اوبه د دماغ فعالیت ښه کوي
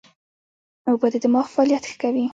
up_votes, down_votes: 1, 2